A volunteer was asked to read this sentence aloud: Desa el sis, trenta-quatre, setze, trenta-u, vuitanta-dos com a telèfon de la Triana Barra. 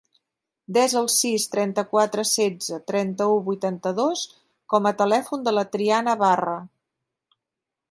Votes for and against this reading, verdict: 3, 0, accepted